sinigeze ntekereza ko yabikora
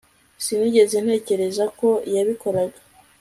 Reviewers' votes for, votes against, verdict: 2, 0, accepted